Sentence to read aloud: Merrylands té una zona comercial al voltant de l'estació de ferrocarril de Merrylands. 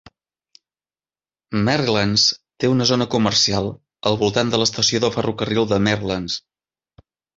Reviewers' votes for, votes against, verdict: 0, 2, rejected